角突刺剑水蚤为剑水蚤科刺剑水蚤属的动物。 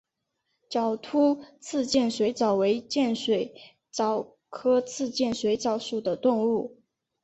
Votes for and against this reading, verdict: 2, 0, accepted